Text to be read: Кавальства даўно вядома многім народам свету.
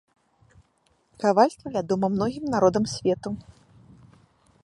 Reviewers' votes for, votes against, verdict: 1, 2, rejected